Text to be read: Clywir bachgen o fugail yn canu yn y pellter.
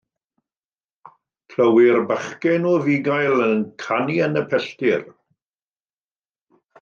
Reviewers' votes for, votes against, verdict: 2, 0, accepted